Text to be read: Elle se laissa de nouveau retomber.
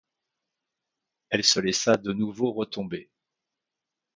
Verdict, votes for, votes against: accepted, 2, 0